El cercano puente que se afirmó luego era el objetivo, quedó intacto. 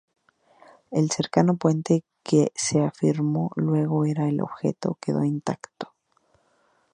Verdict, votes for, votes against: rejected, 0, 2